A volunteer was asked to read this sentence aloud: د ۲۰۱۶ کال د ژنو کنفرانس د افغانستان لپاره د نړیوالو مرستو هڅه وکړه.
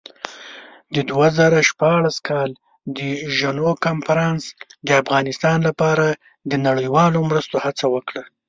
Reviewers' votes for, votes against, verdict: 0, 2, rejected